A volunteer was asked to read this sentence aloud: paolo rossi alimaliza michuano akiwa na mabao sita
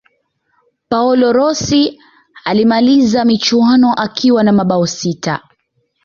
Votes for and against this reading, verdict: 1, 2, rejected